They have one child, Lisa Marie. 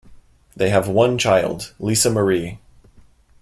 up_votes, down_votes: 2, 0